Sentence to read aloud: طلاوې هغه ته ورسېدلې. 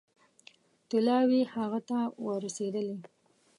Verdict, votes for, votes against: rejected, 1, 2